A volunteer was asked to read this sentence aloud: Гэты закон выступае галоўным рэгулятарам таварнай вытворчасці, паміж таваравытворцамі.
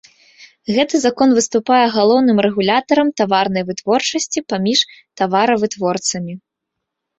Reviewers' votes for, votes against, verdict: 1, 2, rejected